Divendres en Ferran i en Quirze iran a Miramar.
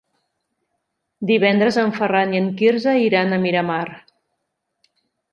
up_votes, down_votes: 4, 0